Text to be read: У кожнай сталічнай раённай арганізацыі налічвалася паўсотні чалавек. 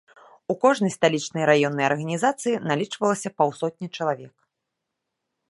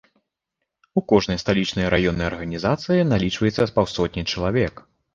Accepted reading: first